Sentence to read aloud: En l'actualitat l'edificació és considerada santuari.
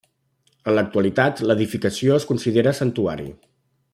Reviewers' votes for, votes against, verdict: 0, 2, rejected